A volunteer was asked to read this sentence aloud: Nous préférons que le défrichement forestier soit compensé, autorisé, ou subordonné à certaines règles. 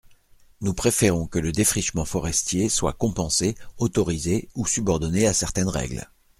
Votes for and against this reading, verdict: 2, 0, accepted